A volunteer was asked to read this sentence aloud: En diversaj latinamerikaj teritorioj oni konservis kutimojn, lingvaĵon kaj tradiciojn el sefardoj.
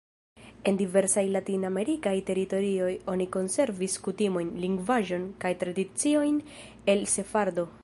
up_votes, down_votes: 2, 1